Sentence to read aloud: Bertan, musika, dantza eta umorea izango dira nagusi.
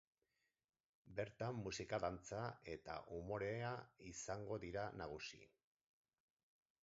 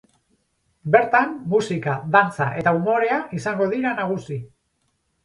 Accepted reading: second